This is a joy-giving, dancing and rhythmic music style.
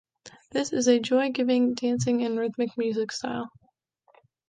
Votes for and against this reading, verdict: 2, 0, accepted